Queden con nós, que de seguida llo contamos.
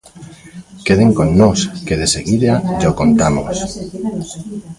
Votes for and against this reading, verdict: 0, 2, rejected